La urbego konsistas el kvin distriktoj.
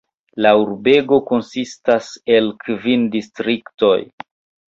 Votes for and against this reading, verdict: 2, 0, accepted